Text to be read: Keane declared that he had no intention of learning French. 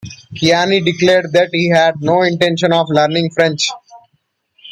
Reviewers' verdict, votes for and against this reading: rejected, 0, 2